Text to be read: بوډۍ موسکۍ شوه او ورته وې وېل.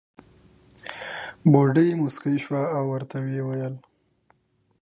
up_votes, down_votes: 4, 0